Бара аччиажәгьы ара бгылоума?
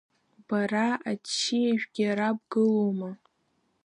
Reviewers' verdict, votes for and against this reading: accepted, 2, 1